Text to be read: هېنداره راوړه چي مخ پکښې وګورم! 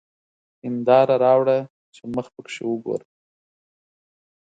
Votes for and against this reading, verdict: 12, 0, accepted